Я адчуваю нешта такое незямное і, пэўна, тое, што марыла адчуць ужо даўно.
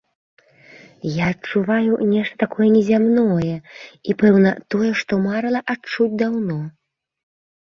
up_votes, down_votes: 1, 2